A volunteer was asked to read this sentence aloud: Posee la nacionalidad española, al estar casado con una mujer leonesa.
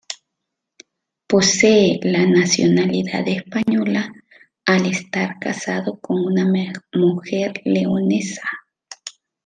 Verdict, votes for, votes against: rejected, 0, 2